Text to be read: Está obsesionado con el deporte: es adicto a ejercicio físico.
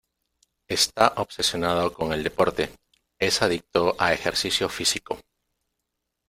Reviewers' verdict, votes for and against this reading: accepted, 2, 0